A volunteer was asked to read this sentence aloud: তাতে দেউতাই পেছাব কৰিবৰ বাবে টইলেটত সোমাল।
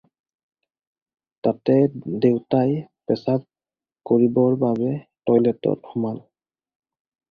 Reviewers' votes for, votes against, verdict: 2, 0, accepted